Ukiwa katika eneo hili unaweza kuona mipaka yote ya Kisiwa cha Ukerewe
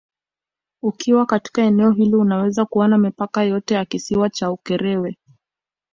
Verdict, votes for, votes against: accepted, 2, 0